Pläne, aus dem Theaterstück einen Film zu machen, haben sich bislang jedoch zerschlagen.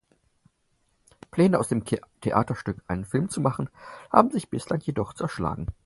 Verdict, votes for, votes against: rejected, 2, 4